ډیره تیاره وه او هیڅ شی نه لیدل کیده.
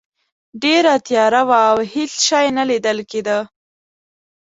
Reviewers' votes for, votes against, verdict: 2, 0, accepted